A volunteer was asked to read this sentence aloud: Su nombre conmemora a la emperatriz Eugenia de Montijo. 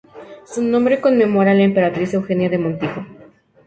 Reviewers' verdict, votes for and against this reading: rejected, 0, 2